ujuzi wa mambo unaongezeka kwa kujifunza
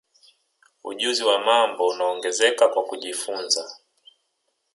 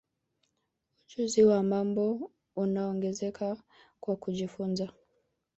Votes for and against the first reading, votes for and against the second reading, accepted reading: 2, 0, 0, 2, first